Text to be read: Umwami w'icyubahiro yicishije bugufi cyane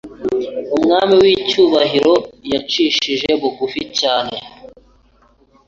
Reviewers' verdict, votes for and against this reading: accepted, 2, 1